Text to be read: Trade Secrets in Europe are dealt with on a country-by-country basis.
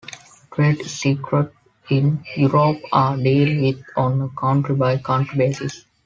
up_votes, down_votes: 0, 2